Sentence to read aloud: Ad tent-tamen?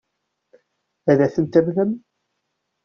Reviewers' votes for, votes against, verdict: 2, 0, accepted